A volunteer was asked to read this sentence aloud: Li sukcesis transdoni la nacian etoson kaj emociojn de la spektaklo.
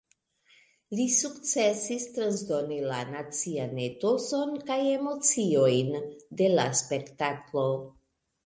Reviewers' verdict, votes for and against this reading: rejected, 1, 2